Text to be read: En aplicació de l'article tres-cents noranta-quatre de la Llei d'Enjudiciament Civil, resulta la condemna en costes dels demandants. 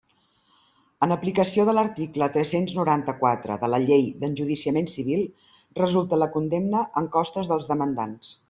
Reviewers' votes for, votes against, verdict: 3, 0, accepted